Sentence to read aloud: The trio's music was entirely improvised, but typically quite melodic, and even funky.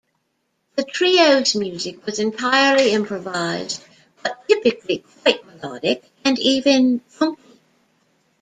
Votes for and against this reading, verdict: 1, 2, rejected